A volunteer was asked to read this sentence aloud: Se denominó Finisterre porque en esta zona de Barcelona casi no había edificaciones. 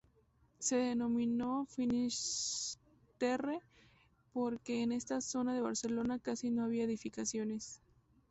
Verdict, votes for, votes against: accepted, 4, 0